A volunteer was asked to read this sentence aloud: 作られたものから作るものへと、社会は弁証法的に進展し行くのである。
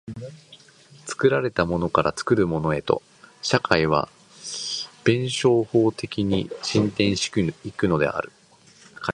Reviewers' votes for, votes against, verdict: 0, 2, rejected